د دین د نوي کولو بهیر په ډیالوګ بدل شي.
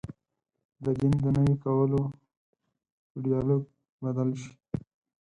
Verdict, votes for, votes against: rejected, 2, 4